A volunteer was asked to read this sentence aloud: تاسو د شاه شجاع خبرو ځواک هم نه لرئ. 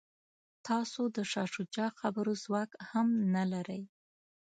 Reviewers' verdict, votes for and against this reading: accepted, 2, 0